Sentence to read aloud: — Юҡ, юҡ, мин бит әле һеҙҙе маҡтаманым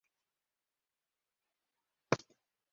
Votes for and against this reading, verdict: 1, 2, rejected